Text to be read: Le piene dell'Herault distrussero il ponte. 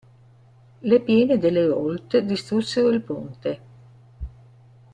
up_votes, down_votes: 2, 0